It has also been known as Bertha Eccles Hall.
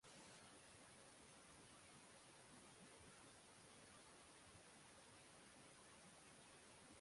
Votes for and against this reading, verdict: 0, 6, rejected